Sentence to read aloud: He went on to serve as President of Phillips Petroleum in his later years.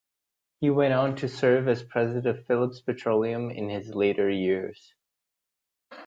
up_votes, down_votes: 0, 2